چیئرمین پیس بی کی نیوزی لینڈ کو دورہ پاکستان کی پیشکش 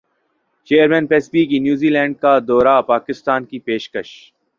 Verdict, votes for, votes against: accepted, 2, 1